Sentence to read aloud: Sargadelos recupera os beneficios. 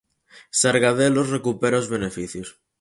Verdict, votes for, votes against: accepted, 4, 0